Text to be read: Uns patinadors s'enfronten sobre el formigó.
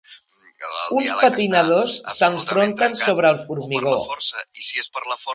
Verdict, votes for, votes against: rejected, 1, 2